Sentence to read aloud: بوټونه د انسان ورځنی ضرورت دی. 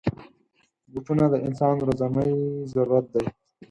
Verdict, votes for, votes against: accepted, 4, 0